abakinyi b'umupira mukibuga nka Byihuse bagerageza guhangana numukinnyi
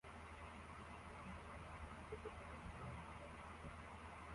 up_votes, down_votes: 0, 2